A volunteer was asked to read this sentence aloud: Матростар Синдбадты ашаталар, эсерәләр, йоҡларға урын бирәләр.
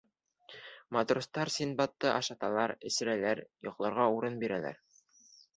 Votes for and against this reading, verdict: 2, 0, accepted